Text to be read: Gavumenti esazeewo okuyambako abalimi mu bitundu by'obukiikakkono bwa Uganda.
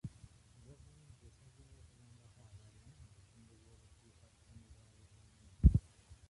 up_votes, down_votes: 0, 2